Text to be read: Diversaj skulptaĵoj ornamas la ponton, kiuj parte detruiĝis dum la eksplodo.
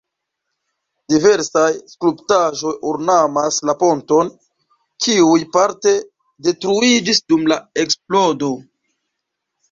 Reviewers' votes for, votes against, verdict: 2, 4, rejected